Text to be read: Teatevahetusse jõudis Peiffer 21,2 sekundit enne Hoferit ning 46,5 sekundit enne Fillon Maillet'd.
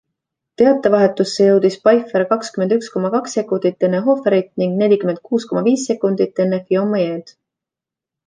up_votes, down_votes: 0, 2